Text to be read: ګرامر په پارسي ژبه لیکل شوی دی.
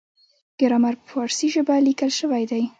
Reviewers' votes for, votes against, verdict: 2, 0, accepted